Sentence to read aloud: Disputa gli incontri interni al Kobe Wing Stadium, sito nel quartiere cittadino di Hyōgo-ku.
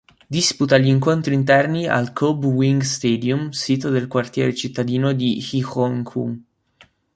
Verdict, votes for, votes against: rejected, 0, 2